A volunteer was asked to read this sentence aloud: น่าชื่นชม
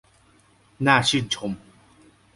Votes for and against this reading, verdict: 2, 0, accepted